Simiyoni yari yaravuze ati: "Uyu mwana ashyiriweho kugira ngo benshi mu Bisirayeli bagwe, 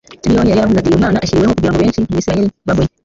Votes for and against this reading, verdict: 1, 2, rejected